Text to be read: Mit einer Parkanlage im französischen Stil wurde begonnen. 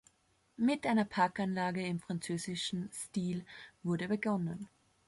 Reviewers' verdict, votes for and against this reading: accepted, 2, 0